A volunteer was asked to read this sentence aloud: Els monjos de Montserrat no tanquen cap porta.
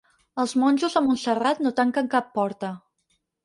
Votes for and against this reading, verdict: 2, 4, rejected